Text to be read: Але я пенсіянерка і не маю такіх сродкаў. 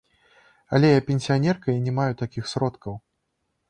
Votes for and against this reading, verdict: 0, 2, rejected